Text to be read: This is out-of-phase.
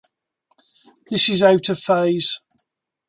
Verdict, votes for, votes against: accepted, 3, 0